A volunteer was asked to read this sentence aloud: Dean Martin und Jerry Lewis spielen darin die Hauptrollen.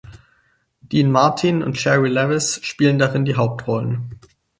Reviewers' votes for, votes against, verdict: 2, 4, rejected